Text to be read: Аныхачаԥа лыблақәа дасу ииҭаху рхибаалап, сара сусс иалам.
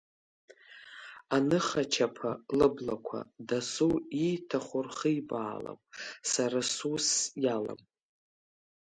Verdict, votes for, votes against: accepted, 2, 1